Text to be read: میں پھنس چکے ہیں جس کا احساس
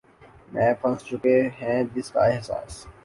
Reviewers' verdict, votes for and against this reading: accepted, 2, 0